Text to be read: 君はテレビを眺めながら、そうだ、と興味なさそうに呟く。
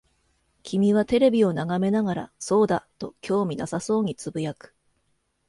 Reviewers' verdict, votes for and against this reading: accepted, 2, 0